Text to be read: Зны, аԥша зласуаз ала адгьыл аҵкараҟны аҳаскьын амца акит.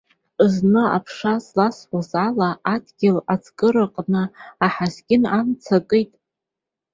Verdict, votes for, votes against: accepted, 2, 0